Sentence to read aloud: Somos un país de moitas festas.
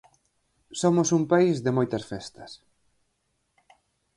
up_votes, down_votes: 4, 0